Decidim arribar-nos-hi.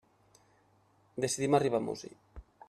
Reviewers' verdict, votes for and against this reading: rejected, 1, 2